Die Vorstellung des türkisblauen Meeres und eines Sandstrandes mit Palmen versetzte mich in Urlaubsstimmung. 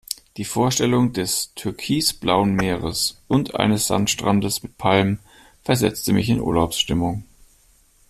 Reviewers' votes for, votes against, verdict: 2, 0, accepted